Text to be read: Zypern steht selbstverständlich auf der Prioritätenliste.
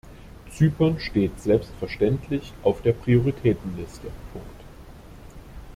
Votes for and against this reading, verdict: 1, 2, rejected